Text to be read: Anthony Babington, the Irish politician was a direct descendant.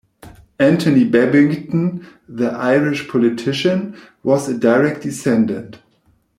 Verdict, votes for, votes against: accepted, 2, 0